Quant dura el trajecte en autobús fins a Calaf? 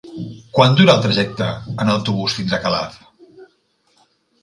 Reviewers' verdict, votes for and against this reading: accepted, 2, 0